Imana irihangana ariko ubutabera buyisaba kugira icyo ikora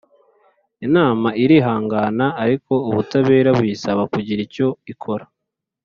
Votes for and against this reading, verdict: 2, 3, rejected